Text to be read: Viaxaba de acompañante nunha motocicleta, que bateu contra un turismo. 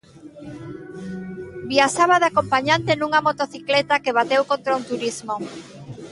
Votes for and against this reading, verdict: 2, 0, accepted